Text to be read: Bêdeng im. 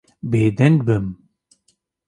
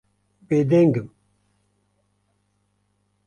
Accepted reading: second